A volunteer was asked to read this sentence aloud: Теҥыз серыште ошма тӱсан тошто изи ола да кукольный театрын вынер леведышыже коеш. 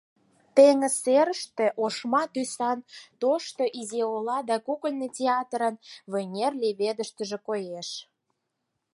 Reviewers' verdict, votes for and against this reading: rejected, 2, 4